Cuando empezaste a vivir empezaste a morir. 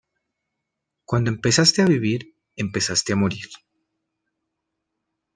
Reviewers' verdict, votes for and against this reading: accepted, 2, 0